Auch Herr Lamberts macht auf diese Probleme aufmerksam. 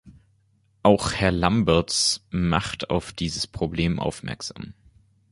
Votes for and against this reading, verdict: 0, 2, rejected